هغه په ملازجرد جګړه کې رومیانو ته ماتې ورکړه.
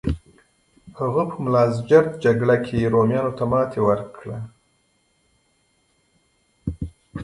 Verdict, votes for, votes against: accepted, 2, 0